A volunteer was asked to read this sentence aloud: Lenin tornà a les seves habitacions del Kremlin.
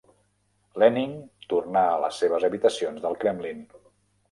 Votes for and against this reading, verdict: 2, 1, accepted